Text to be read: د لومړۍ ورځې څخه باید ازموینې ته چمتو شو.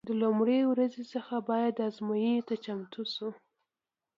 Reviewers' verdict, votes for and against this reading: accepted, 2, 0